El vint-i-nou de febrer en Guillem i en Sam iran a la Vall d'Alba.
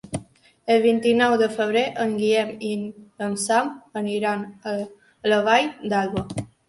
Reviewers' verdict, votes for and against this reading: rejected, 1, 2